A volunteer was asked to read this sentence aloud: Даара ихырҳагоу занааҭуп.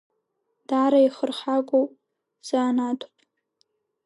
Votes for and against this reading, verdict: 1, 2, rejected